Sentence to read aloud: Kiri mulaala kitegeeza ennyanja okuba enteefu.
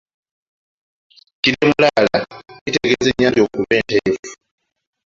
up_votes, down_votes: 2, 1